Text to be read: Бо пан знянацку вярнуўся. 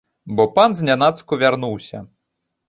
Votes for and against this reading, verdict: 2, 0, accepted